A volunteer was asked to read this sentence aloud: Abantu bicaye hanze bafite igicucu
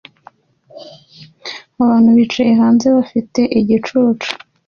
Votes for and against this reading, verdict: 2, 1, accepted